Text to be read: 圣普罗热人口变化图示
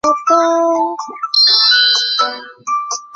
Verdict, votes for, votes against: rejected, 0, 3